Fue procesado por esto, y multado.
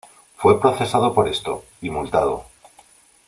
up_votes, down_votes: 2, 0